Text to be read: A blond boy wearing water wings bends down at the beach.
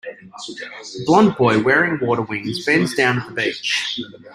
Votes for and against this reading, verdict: 0, 2, rejected